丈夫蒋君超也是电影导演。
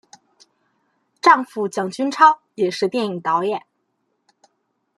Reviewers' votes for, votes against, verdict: 2, 0, accepted